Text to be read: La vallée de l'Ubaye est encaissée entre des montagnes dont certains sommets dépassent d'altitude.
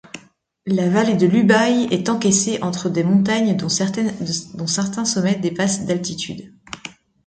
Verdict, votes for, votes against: rejected, 0, 2